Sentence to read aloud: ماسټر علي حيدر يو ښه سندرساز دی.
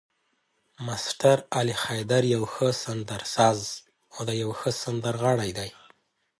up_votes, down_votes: 0, 2